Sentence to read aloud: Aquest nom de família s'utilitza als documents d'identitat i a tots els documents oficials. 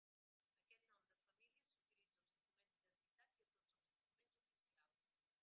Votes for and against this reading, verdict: 0, 2, rejected